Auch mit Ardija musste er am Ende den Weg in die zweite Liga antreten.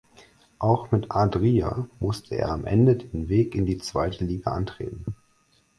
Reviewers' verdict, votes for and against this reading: rejected, 2, 4